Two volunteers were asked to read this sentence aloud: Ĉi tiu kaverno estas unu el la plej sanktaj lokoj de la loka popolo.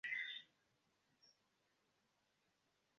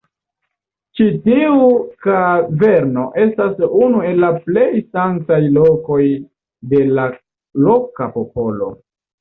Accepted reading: second